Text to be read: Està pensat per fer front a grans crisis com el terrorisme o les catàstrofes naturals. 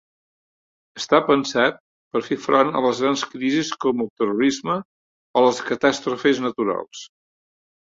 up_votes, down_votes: 0, 2